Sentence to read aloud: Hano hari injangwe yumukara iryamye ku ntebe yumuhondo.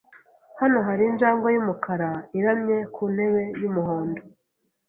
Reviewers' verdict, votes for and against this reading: rejected, 0, 2